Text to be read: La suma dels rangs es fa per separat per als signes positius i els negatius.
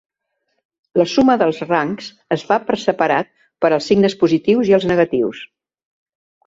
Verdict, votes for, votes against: accepted, 2, 0